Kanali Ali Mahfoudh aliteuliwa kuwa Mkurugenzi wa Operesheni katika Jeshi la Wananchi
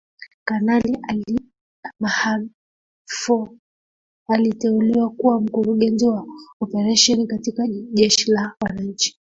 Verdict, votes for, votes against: rejected, 1, 2